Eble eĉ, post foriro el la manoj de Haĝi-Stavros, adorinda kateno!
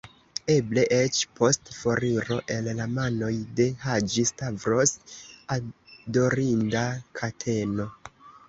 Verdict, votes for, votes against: accepted, 3, 2